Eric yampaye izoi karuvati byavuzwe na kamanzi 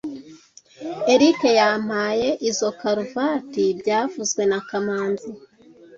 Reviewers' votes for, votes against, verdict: 2, 0, accepted